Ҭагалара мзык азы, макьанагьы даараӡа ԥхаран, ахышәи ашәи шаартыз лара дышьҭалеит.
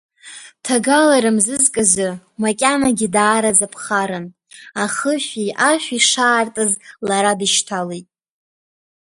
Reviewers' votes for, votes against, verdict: 1, 2, rejected